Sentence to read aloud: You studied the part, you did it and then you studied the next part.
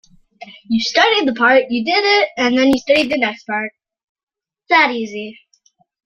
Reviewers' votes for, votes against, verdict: 1, 2, rejected